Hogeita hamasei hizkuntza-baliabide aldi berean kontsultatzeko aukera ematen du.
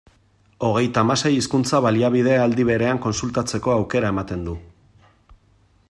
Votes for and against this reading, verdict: 2, 0, accepted